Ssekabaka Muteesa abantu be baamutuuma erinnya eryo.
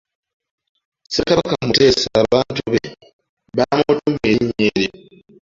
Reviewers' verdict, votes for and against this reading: rejected, 0, 2